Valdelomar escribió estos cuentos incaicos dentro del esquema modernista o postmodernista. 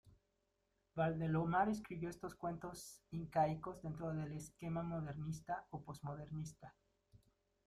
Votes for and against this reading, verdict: 0, 2, rejected